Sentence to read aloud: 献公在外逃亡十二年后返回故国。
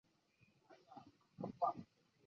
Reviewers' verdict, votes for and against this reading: rejected, 1, 3